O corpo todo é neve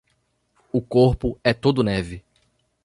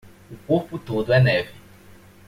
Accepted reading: second